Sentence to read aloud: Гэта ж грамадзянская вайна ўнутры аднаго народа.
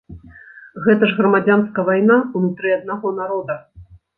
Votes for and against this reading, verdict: 1, 2, rejected